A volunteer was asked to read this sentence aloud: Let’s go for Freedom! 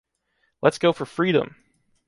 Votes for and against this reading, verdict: 2, 0, accepted